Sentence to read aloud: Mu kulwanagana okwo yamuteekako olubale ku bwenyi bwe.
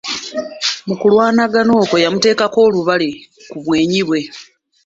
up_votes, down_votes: 3, 0